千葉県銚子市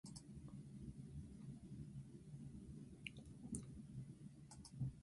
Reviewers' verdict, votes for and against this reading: rejected, 0, 2